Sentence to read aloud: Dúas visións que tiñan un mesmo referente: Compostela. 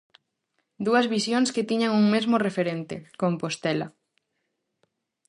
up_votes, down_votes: 4, 0